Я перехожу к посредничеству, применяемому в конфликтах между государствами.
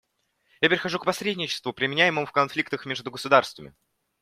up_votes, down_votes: 1, 2